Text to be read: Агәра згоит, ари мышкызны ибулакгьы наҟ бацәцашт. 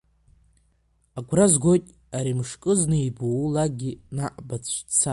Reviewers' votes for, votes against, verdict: 0, 2, rejected